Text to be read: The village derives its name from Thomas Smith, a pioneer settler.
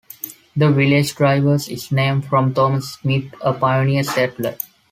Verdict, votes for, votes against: rejected, 0, 2